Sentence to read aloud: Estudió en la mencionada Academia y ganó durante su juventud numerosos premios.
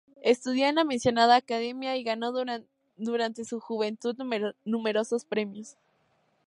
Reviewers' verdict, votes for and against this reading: rejected, 0, 2